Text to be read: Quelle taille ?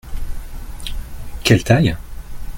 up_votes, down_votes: 2, 0